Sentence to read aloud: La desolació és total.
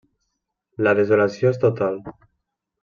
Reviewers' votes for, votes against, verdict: 3, 0, accepted